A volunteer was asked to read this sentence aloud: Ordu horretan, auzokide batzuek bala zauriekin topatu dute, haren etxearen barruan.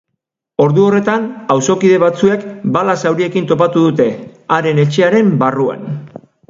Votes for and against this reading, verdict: 2, 0, accepted